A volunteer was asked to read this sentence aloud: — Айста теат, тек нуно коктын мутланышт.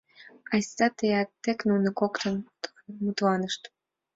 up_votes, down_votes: 3, 2